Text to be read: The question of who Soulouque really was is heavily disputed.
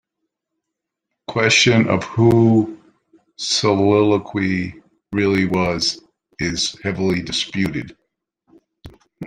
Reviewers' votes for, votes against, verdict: 1, 2, rejected